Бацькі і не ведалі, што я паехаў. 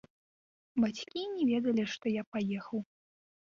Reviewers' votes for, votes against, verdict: 0, 2, rejected